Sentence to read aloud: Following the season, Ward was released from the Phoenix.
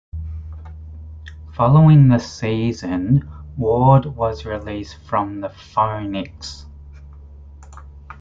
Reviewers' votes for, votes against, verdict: 1, 2, rejected